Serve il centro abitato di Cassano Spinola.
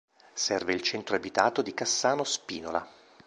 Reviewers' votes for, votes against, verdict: 2, 0, accepted